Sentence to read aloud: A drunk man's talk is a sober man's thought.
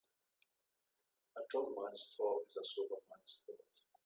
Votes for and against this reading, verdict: 1, 2, rejected